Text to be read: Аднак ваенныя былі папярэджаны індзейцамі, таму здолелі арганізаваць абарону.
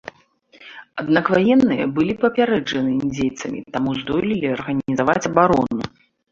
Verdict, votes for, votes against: accepted, 2, 0